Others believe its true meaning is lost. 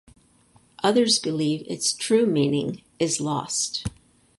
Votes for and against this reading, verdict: 4, 0, accepted